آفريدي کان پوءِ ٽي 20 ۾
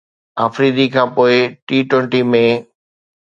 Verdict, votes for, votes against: rejected, 0, 2